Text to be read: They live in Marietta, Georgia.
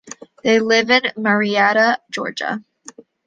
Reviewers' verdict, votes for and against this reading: accepted, 2, 0